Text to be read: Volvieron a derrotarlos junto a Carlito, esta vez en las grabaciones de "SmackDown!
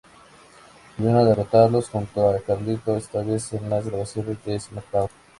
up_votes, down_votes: 2, 0